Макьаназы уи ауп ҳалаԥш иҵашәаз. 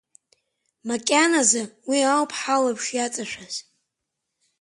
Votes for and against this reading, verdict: 3, 2, accepted